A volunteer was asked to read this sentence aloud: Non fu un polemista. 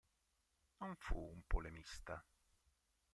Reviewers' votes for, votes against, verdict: 1, 2, rejected